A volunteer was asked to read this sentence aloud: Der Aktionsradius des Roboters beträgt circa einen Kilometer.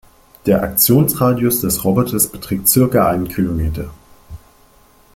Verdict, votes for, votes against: accepted, 2, 0